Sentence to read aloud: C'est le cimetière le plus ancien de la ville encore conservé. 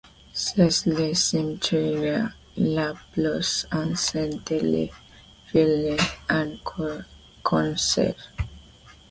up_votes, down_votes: 1, 2